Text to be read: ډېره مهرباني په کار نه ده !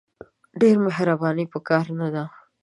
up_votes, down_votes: 1, 2